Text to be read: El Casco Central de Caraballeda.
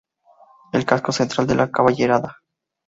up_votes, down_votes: 2, 0